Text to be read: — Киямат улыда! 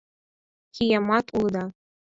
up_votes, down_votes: 4, 0